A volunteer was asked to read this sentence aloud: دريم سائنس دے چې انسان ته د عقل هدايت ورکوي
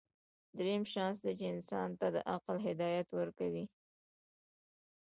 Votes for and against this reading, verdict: 0, 2, rejected